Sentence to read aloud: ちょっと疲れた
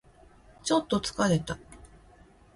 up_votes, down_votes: 3, 0